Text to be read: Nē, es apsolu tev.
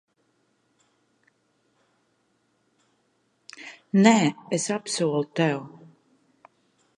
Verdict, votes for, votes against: accepted, 2, 0